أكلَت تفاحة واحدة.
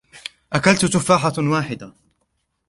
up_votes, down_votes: 0, 2